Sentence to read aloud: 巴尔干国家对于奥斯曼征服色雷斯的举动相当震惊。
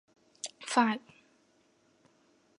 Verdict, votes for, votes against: rejected, 0, 2